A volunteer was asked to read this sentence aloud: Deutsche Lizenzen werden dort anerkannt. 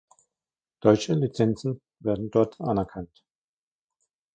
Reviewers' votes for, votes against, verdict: 1, 2, rejected